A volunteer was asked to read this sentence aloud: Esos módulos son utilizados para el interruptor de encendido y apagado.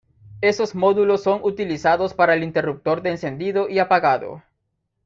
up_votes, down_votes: 2, 0